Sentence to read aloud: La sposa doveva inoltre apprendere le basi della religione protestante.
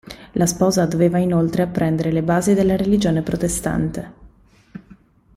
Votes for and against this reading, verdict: 2, 0, accepted